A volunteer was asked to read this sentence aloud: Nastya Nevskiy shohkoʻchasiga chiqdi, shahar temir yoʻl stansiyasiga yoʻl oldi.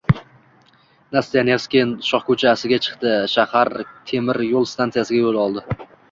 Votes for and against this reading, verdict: 2, 0, accepted